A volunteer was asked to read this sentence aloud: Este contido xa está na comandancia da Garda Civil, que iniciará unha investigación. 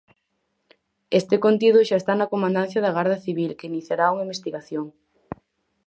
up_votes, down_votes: 4, 0